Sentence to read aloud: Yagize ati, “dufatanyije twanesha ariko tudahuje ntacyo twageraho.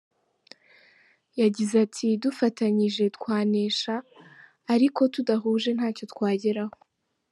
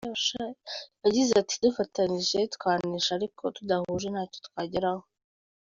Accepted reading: first